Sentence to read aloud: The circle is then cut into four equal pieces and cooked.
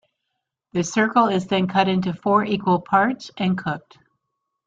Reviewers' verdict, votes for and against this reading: accepted, 2, 1